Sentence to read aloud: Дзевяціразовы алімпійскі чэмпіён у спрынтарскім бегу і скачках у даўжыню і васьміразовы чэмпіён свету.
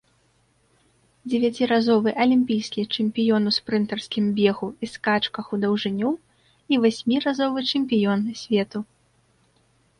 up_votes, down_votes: 2, 0